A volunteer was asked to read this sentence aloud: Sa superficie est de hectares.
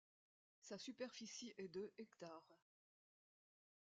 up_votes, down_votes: 0, 2